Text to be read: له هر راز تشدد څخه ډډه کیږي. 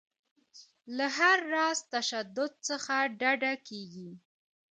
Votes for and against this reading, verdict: 2, 0, accepted